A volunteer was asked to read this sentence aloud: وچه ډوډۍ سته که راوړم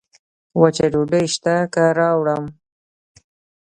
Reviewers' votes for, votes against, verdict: 1, 2, rejected